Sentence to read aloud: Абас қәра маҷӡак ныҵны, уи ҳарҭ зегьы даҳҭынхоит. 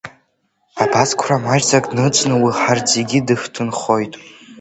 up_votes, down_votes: 2, 0